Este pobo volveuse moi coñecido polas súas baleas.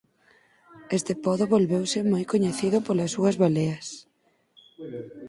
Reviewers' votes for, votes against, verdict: 0, 4, rejected